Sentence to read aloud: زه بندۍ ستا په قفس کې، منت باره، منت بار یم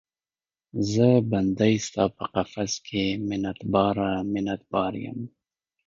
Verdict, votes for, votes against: accepted, 2, 0